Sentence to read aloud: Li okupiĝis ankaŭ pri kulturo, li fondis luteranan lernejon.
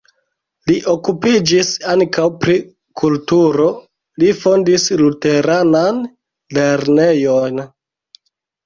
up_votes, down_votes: 2, 0